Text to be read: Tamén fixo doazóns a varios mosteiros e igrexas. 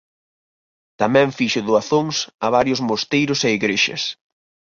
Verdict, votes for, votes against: accepted, 4, 0